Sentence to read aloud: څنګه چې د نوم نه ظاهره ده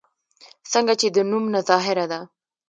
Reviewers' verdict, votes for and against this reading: rejected, 1, 2